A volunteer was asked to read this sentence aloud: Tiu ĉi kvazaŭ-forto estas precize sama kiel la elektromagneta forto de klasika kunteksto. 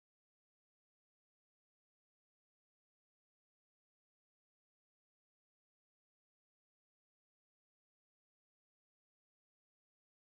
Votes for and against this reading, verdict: 2, 1, accepted